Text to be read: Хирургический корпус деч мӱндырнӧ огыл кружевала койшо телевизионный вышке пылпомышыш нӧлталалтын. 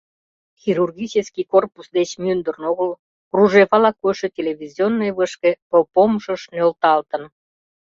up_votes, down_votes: 0, 2